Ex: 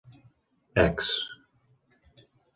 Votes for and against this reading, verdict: 2, 0, accepted